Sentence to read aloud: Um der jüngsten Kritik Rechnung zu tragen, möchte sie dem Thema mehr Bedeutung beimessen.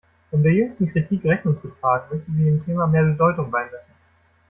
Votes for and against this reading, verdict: 1, 2, rejected